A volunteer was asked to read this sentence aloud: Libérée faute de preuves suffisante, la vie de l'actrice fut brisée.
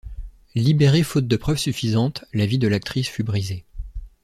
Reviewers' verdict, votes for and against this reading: rejected, 1, 2